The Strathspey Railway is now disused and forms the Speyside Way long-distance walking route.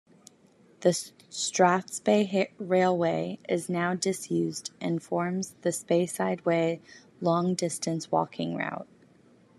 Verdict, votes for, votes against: accepted, 2, 0